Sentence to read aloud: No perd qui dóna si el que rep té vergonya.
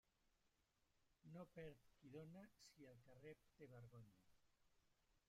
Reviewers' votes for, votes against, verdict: 0, 2, rejected